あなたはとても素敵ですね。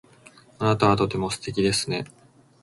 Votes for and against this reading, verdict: 2, 0, accepted